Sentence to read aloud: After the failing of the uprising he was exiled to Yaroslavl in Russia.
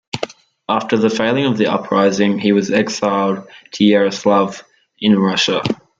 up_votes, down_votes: 1, 2